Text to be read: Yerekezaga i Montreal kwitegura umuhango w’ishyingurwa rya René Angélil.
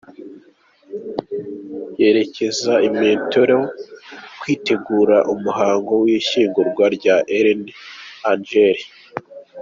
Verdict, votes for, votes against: accepted, 2, 0